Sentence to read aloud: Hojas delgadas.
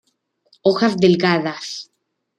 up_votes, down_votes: 2, 0